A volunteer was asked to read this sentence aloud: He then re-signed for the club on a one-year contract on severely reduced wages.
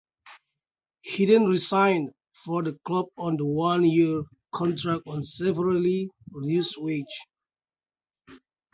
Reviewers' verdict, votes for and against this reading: rejected, 0, 2